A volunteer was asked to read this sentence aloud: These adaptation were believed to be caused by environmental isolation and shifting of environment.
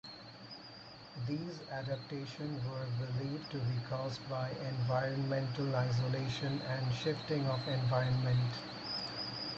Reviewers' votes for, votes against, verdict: 4, 0, accepted